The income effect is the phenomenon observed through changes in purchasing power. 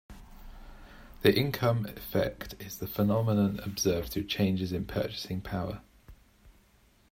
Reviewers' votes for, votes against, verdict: 2, 0, accepted